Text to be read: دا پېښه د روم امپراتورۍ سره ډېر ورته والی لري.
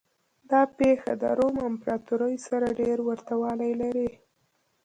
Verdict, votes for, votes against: accepted, 2, 0